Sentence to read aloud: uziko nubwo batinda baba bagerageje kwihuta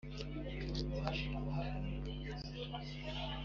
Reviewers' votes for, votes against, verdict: 2, 0, accepted